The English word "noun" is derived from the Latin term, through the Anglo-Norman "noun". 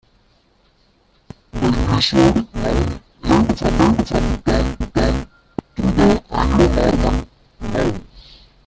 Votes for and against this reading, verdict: 0, 2, rejected